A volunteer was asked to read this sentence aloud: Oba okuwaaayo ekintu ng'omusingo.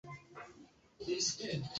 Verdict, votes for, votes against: rejected, 0, 2